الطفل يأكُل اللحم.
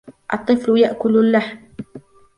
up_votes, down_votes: 1, 2